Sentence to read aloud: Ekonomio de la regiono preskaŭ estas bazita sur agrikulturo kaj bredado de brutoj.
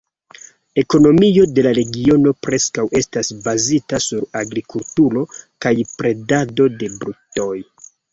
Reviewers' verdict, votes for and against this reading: accepted, 2, 1